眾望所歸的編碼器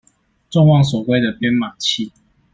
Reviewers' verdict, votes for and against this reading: accepted, 2, 0